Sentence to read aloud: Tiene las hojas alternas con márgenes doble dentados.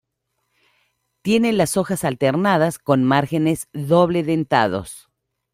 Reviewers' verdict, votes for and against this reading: rejected, 1, 2